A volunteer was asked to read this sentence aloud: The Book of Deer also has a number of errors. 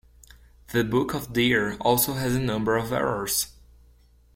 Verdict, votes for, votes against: accepted, 2, 0